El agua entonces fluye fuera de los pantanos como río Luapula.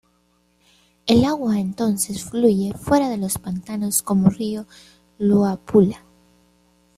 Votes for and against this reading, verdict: 2, 1, accepted